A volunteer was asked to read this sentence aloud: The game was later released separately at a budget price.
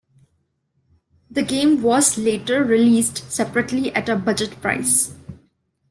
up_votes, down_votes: 2, 0